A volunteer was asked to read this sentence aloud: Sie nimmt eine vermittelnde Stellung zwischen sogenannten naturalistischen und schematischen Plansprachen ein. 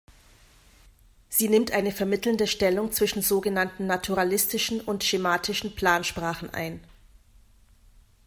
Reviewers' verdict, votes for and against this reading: accepted, 2, 0